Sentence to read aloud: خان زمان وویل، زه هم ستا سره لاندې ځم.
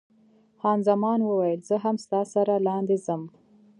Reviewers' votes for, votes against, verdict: 2, 0, accepted